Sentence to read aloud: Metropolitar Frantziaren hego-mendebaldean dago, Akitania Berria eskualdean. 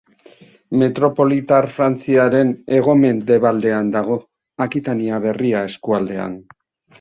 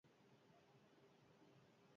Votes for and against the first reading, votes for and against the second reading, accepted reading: 2, 0, 0, 6, first